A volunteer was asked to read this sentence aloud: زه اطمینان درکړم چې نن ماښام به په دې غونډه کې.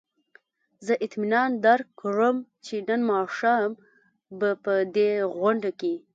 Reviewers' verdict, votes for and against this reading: accepted, 3, 0